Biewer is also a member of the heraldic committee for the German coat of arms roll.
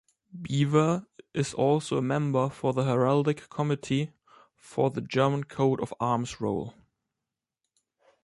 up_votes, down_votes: 0, 2